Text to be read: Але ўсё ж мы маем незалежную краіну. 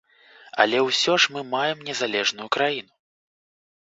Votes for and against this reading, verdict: 3, 0, accepted